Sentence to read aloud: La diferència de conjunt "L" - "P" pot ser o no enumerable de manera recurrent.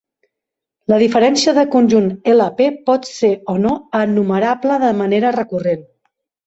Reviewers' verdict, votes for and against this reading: accepted, 2, 0